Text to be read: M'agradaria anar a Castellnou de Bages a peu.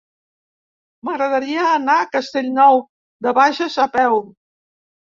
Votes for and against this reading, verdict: 2, 0, accepted